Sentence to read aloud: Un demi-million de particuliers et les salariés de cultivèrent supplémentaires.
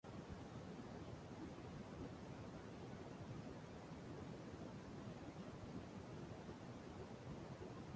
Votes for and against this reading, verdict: 0, 2, rejected